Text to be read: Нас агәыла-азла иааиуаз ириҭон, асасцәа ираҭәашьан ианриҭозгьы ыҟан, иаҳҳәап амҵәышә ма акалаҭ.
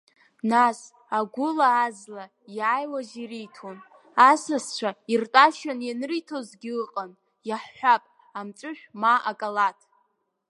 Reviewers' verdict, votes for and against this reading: rejected, 1, 2